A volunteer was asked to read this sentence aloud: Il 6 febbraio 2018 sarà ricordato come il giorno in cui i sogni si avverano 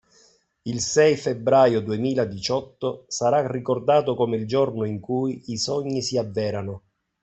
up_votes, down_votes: 0, 2